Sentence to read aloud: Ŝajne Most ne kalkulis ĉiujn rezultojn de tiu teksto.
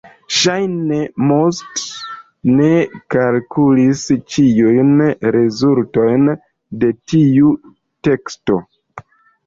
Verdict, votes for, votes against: accepted, 2, 1